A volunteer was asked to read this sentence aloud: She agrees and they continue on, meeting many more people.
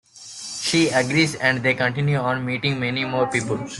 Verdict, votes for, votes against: accepted, 2, 0